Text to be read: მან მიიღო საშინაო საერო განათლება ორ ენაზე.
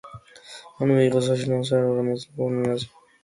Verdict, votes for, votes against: rejected, 0, 2